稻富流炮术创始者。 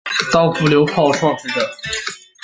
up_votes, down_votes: 0, 2